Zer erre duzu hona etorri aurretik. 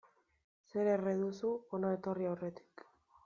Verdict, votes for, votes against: rejected, 1, 2